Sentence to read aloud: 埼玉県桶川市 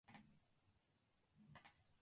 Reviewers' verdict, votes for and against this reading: rejected, 0, 2